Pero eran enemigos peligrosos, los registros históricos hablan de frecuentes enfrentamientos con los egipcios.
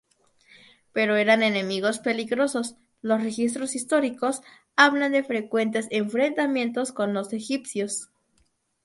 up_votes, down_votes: 2, 0